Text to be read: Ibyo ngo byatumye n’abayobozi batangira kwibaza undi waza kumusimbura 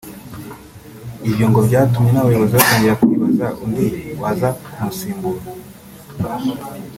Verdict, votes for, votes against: accepted, 2, 0